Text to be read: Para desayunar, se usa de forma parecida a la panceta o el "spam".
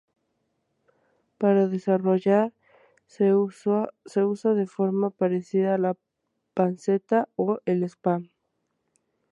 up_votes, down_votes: 0, 2